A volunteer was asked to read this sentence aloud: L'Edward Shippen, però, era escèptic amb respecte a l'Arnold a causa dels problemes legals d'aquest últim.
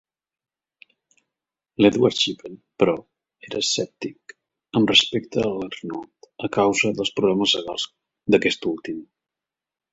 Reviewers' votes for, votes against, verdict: 2, 0, accepted